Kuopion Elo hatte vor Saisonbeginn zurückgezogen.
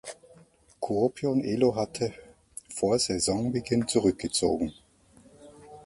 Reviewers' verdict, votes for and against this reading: rejected, 1, 2